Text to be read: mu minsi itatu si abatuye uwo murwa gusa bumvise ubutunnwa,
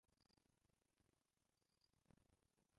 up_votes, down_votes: 0, 2